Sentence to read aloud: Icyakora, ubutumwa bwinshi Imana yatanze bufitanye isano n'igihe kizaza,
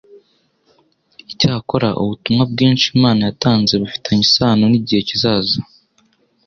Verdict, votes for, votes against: accepted, 2, 0